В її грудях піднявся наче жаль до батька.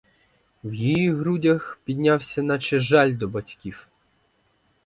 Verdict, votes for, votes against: rejected, 0, 4